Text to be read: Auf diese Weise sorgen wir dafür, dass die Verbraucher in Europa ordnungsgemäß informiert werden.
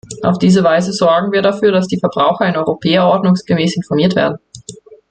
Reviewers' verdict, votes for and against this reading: rejected, 1, 2